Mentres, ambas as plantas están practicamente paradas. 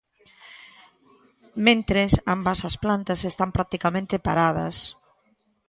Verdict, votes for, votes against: accepted, 2, 0